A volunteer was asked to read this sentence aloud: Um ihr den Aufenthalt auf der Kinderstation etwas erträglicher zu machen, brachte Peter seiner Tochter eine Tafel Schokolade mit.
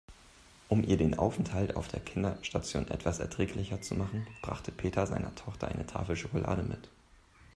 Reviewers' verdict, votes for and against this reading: accepted, 3, 0